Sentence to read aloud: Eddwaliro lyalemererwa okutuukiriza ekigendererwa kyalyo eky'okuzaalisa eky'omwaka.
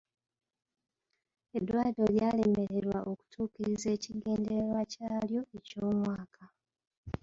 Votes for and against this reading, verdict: 0, 2, rejected